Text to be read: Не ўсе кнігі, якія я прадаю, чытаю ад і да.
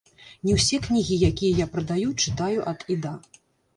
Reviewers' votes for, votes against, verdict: 1, 3, rejected